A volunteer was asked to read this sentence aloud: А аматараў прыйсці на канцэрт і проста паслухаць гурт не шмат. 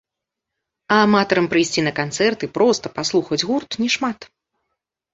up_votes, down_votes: 1, 2